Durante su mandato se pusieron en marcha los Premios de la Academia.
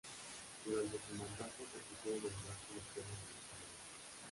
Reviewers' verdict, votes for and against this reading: rejected, 0, 2